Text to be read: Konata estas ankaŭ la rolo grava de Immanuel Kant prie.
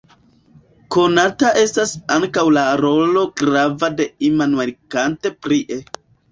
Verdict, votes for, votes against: accepted, 2, 0